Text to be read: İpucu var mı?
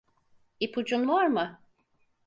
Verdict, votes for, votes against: rejected, 2, 4